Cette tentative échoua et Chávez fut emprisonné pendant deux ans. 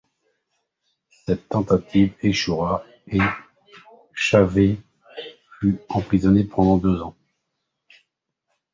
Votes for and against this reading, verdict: 1, 2, rejected